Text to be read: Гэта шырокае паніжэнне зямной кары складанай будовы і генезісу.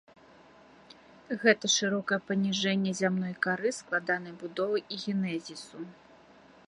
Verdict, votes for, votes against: accepted, 2, 1